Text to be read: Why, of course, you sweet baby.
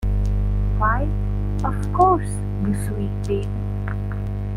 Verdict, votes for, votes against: rejected, 1, 2